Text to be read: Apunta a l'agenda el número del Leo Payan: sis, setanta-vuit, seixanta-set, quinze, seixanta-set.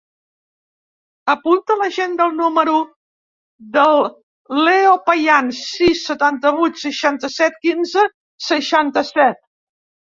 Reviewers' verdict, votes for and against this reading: rejected, 1, 2